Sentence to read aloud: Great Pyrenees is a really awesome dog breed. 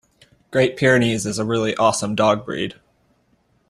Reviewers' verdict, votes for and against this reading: accepted, 2, 0